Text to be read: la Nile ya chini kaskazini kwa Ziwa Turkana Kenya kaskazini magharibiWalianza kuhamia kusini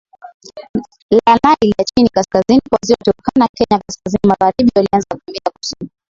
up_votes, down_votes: 7, 16